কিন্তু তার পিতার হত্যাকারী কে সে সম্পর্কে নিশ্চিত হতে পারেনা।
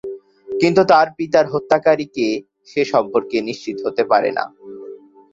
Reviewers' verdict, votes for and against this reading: accepted, 4, 0